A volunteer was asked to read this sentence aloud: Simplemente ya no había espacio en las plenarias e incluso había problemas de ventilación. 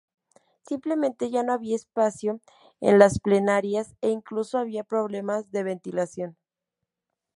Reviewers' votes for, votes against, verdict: 2, 0, accepted